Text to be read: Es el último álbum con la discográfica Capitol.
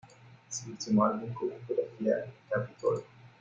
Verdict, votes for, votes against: rejected, 0, 2